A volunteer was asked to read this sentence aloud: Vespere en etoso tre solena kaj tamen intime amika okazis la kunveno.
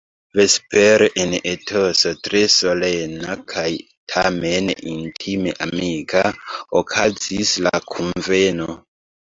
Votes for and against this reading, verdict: 2, 1, accepted